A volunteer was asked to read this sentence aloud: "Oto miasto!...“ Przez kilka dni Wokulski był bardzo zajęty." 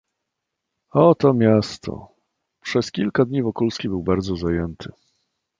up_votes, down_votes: 2, 0